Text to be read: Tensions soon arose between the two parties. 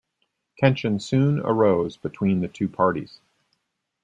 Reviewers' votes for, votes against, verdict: 2, 0, accepted